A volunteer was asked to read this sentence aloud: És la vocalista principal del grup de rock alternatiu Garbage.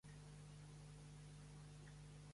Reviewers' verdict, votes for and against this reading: rejected, 0, 3